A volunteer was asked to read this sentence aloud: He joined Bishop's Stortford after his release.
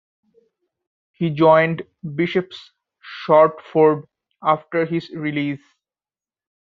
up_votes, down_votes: 1, 2